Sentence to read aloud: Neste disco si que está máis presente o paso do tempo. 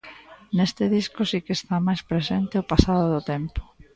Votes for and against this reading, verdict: 0, 2, rejected